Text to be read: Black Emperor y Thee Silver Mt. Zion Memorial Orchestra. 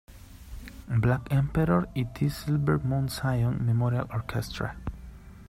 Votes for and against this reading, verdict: 0, 2, rejected